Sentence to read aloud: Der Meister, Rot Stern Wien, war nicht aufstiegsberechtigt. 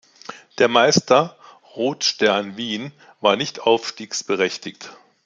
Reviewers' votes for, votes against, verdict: 2, 0, accepted